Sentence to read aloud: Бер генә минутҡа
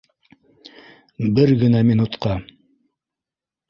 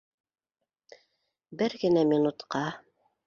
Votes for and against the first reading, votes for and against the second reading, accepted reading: 1, 2, 2, 0, second